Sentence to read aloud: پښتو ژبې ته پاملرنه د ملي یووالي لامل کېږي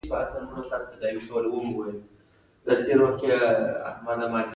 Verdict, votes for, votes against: rejected, 0, 2